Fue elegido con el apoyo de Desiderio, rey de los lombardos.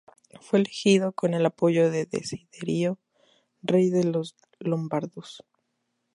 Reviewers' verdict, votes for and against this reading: accepted, 2, 0